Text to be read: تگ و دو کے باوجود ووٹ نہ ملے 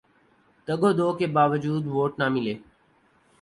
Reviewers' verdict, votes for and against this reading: accepted, 2, 0